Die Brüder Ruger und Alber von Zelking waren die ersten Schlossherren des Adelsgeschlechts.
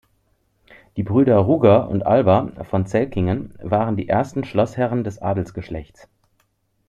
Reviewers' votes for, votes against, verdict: 0, 2, rejected